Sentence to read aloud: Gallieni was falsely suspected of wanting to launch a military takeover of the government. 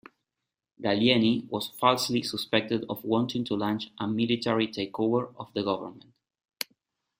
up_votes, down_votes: 2, 1